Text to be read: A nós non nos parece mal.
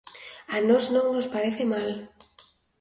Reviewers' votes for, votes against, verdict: 2, 0, accepted